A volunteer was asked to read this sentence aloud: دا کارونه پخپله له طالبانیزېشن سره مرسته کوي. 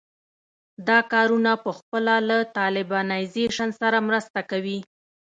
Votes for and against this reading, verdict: 2, 0, accepted